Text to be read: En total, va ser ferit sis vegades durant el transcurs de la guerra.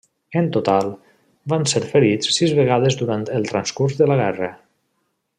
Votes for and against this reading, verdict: 0, 2, rejected